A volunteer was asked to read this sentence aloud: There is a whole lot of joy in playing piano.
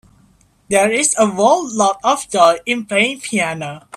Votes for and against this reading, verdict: 1, 2, rejected